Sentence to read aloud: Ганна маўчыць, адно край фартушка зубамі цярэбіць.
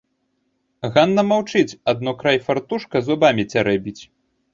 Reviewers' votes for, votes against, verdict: 2, 0, accepted